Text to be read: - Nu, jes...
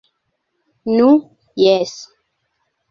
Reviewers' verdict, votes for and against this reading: accepted, 2, 0